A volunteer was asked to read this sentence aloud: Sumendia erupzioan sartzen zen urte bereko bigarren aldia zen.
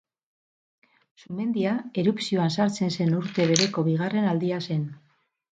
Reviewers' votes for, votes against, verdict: 4, 0, accepted